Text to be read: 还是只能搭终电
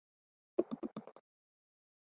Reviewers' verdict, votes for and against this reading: rejected, 2, 3